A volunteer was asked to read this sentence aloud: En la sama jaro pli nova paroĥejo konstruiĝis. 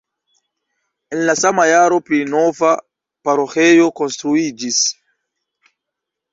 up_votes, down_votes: 2, 0